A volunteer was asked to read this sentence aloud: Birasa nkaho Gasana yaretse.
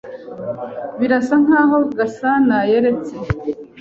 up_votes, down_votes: 2, 0